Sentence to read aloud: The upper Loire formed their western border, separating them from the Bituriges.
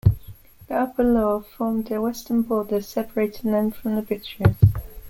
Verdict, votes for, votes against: accepted, 2, 0